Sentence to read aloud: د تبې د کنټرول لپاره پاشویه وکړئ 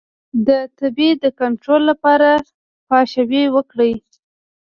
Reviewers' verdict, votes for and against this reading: rejected, 1, 2